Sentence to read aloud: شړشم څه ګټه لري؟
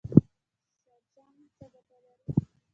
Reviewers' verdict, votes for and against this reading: accepted, 2, 1